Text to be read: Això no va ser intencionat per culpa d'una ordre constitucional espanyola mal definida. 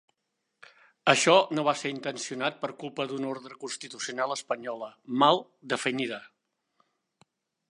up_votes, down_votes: 2, 1